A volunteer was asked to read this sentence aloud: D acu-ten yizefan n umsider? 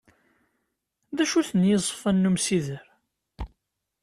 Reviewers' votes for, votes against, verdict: 2, 0, accepted